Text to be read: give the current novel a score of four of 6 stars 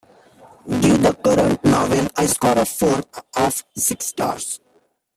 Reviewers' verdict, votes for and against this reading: rejected, 0, 2